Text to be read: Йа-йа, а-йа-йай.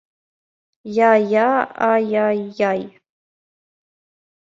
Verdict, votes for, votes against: accepted, 2, 0